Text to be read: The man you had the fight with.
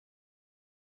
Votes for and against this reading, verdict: 0, 2, rejected